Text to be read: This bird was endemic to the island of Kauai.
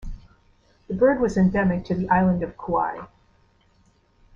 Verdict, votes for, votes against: rejected, 1, 2